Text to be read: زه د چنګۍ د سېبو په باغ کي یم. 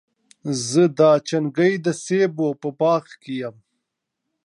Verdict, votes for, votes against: accepted, 2, 1